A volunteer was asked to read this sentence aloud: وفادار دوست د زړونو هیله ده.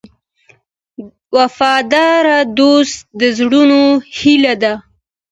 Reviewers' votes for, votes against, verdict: 2, 0, accepted